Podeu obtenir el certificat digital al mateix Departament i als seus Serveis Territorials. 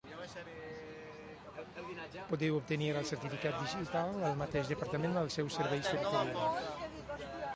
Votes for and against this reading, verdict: 1, 2, rejected